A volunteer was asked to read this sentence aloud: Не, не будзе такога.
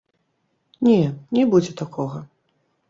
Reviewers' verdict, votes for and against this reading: rejected, 1, 2